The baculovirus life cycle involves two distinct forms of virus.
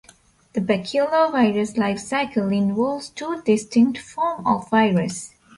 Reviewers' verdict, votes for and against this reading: rejected, 0, 2